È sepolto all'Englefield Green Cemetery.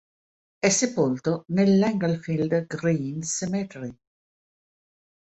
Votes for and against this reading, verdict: 1, 2, rejected